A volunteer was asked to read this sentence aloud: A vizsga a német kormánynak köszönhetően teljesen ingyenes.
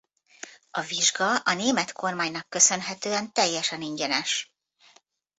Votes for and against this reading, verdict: 2, 0, accepted